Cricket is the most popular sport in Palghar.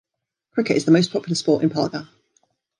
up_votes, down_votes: 2, 0